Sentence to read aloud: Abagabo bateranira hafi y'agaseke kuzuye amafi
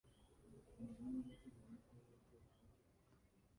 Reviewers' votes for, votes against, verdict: 1, 2, rejected